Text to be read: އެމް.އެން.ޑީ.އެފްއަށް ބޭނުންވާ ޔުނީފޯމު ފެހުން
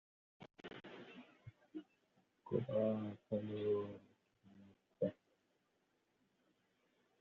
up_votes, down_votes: 0, 4